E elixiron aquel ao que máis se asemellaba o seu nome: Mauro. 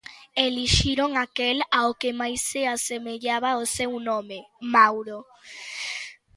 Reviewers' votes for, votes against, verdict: 2, 0, accepted